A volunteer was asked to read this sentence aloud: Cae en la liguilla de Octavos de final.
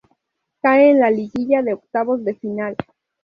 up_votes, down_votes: 2, 0